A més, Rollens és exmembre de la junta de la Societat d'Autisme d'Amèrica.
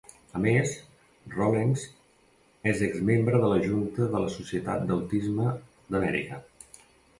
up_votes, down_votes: 2, 0